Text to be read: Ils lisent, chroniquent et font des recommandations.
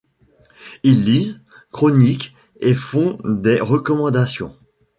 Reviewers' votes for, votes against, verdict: 2, 0, accepted